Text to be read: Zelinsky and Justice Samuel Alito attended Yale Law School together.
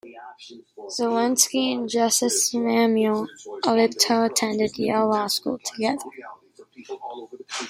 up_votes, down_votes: 0, 2